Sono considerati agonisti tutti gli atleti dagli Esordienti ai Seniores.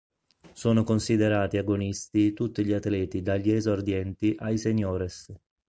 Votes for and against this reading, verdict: 5, 0, accepted